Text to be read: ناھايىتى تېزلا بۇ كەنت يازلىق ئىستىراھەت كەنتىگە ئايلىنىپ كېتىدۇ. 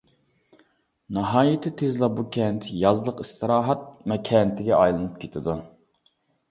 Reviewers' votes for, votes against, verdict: 1, 2, rejected